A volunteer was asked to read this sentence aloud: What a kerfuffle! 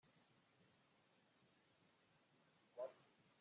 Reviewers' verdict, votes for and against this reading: rejected, 0, 2